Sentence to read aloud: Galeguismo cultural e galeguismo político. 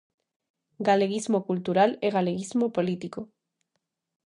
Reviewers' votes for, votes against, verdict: 2, 0, accepted